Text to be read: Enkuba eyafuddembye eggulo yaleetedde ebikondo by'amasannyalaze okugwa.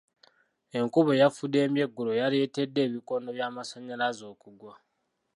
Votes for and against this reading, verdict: 2, 1, accepted